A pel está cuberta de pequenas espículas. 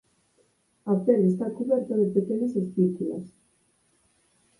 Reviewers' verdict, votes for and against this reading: accepted, 4, 0